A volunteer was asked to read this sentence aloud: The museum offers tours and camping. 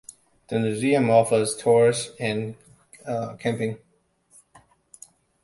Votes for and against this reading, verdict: 1, 2, rejected